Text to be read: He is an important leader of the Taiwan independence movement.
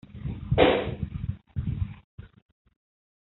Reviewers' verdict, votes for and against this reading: rejected, 0, 2